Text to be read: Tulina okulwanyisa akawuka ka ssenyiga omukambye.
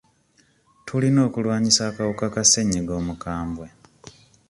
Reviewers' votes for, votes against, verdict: 2, 0, accepted